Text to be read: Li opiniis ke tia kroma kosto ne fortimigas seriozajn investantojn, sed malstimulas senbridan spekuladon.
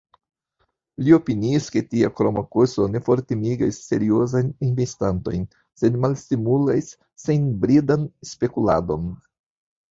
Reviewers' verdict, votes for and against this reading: rejected, 1, 2